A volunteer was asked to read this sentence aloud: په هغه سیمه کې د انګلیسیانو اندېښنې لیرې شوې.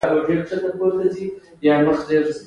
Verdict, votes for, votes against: rejected, 1, 2